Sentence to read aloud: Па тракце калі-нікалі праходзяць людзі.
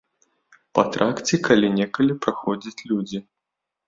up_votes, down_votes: 1, 4